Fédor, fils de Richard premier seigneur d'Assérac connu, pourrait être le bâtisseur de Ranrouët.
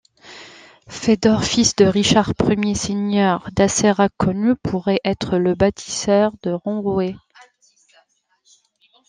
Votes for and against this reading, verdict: 2, 0, accepted